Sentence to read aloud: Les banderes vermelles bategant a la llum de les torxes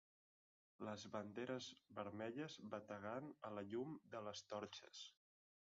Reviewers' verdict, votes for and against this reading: accepted, 3, 1